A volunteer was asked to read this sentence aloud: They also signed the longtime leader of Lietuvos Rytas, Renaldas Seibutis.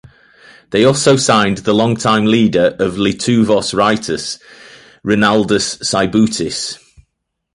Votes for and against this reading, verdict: 1, 2, rejected